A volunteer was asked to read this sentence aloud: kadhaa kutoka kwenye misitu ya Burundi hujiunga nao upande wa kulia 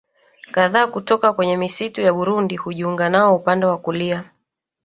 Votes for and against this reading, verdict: 3, 1, accepted